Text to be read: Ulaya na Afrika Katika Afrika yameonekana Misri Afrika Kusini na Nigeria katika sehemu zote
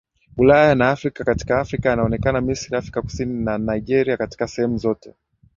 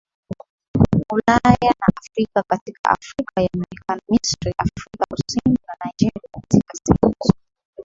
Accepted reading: first